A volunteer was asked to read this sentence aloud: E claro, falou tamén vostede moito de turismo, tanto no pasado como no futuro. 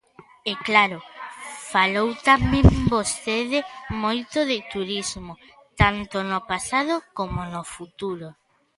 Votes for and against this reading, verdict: 1, 2, rejected